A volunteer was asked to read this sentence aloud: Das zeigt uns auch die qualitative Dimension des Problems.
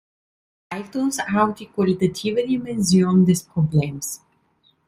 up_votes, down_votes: 1, 3